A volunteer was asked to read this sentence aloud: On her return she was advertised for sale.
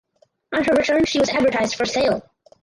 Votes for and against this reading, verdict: 2, 4, rejected